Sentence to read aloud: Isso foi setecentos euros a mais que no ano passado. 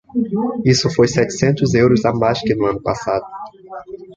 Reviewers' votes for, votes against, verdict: 2, 0, accepted